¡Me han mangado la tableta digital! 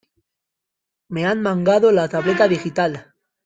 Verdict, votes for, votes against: accepted, 2, 0